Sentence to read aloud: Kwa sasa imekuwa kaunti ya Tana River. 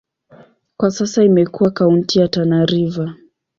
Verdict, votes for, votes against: accepted, 7, 0